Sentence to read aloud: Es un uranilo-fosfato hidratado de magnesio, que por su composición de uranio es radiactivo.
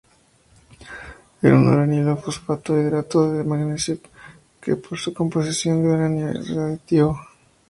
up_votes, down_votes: 0, 2